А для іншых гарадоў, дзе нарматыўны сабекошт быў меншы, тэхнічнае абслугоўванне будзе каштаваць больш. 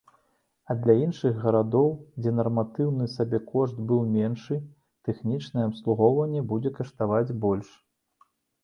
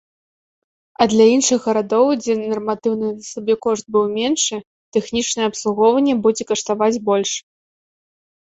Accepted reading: first